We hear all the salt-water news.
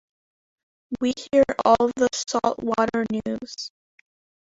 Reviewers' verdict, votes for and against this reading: accepted, 2, 1